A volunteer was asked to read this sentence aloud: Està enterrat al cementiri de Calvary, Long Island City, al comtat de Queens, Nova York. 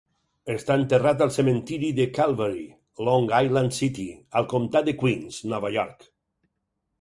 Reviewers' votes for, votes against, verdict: 4, 0, accepted